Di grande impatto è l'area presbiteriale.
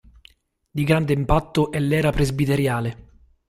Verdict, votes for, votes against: rejected, 0, 2